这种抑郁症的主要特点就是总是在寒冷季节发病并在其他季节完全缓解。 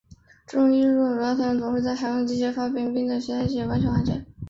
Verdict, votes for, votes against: rejected, 2, 3